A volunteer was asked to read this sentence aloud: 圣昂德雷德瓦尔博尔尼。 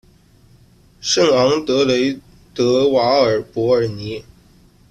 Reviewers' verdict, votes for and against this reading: rejected, 0, 2